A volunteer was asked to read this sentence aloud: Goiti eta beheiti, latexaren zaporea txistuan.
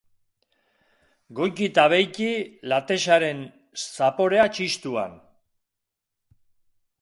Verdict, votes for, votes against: rejected, 0, 2